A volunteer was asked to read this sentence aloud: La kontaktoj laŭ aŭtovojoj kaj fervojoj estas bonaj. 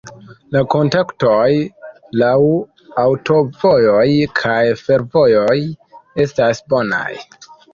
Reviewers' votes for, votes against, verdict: 2, 1, accepted